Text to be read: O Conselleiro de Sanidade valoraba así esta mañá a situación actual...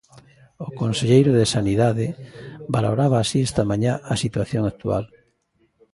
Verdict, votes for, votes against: accepted, 2, 0